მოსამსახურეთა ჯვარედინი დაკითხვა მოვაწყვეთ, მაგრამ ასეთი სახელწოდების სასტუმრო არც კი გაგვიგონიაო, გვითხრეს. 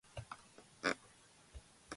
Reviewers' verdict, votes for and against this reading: rejected, 1, 2